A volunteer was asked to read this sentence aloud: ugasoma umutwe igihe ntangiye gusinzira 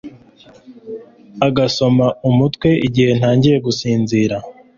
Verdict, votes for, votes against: rejected, 1, 2